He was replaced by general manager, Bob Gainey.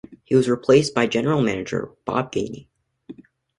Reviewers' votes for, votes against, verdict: 2, 0, accepted